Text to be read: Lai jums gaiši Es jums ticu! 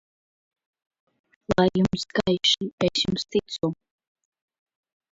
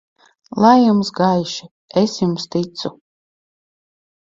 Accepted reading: second